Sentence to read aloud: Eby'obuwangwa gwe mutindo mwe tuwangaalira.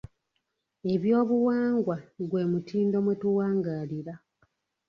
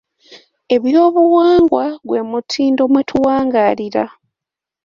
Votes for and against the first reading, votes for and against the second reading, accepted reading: 0, 2, 2, 0, second